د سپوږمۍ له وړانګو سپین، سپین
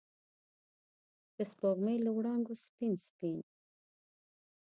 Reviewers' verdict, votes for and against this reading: accepted, 2, 0